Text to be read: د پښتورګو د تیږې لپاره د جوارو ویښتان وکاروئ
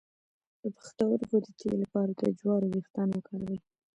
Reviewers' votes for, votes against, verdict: 2, 1, accepted